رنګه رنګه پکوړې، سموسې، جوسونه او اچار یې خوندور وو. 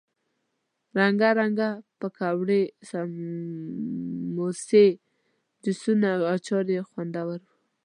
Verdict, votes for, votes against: rejected, 1, 2